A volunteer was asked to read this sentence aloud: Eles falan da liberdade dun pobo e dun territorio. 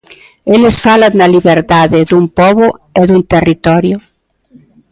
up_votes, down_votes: 1, 2